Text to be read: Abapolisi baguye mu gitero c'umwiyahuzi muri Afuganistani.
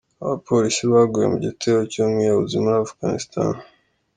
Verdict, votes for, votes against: accepted, 2, 0